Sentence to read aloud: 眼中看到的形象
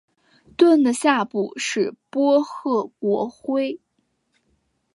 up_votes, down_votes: 0, 2